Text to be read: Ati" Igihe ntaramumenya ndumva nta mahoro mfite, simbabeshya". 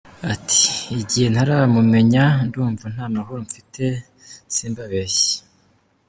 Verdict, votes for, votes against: accepted, 2, 1